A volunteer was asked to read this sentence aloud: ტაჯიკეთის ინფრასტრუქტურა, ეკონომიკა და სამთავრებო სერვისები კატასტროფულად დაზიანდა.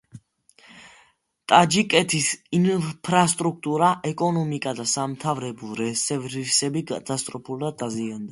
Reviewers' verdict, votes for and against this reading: rejected, 0, 2